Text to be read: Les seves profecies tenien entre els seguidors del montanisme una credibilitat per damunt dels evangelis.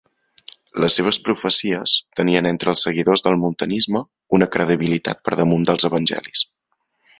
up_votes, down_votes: 2, 1